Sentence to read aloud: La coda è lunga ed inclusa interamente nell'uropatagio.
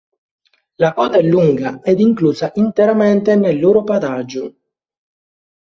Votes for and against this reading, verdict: 2, 1, accepted